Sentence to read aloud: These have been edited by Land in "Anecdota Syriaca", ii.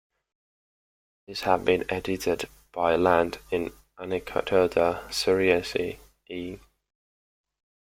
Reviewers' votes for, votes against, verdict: 0, 2, rejected